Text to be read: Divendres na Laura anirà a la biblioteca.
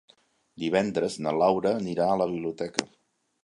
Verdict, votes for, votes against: accepted, 3, 1